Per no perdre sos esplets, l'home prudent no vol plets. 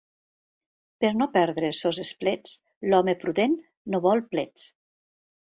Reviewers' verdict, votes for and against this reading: rejected, 0, 2